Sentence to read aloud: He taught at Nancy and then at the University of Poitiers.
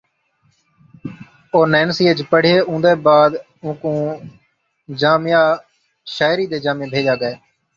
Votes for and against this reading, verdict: 0, 2, rejected